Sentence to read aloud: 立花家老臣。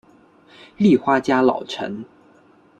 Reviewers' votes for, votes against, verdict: 2, 0, accepted